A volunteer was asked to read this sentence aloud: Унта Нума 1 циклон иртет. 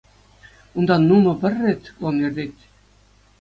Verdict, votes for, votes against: rejected, 0, 2